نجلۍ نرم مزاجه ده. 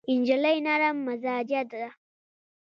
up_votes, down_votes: 0, 2